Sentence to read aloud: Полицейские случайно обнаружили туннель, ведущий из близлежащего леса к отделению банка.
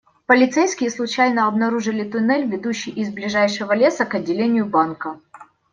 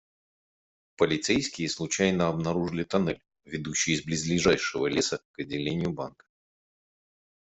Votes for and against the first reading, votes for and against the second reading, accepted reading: 1, 2, 2, 0, second